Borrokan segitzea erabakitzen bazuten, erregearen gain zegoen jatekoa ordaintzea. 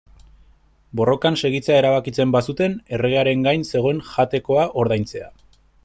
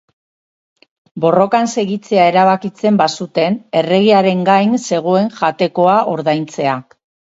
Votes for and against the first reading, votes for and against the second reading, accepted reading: 0, 2, 4, 2, second